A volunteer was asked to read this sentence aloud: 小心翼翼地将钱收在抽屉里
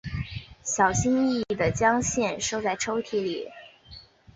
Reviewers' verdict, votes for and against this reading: rejected, 1, 2